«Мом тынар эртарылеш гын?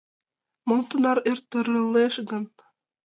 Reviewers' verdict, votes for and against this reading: rejected, 0, 2